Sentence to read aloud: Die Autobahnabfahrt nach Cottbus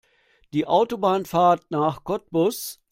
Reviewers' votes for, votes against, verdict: 1, 2, rejected